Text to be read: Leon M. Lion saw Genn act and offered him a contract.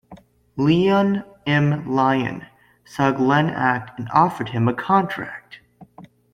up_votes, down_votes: 0, 2